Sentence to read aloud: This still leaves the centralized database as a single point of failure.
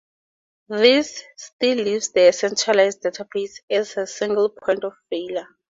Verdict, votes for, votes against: accepted, 2, 0